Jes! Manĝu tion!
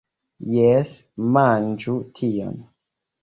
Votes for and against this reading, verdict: 1, 2, rejected